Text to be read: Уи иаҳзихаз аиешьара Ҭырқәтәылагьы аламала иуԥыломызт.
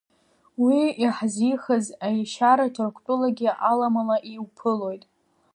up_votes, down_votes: 1, 2